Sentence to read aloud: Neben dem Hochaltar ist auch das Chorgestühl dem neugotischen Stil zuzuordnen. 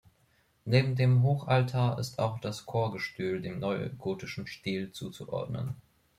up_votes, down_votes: 2, 0